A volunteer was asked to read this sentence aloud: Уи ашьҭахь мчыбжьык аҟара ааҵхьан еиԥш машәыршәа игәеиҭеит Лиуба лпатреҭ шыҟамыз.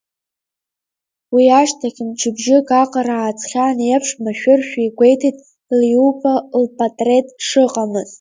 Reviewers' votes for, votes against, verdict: 0, 2, rejected